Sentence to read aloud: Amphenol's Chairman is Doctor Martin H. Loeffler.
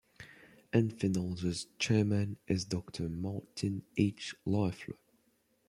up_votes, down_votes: 1, 2